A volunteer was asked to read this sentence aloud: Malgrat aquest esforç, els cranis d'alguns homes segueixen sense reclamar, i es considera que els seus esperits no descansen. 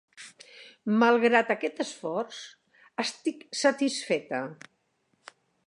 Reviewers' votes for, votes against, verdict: 0, 2, rejected